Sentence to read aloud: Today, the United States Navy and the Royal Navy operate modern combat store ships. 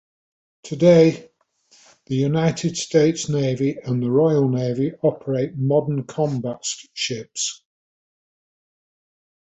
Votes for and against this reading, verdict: 0, 2, rejected